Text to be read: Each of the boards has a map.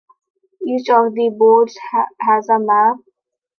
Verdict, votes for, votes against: rejected, 0, 2